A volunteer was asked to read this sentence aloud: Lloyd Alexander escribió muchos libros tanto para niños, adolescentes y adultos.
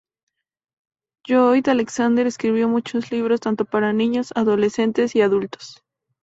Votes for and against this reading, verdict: 2, 0, accepted